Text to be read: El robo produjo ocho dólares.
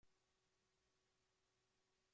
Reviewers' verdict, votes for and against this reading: rejected, 0, 2